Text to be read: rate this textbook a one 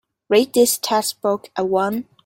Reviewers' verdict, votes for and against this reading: rejected, 1, 2